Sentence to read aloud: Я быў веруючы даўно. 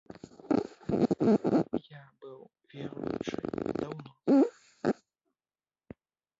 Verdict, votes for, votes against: rejected, 0, 2